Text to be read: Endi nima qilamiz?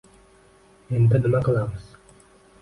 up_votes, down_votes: 2, 0